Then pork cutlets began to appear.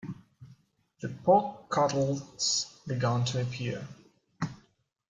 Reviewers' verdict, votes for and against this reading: rejected, 0, 2